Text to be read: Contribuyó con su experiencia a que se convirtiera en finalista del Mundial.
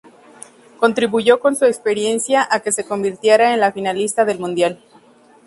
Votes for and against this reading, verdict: 0, 2, rejected